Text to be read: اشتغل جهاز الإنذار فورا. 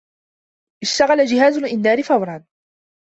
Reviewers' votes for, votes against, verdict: 2, 0, accepted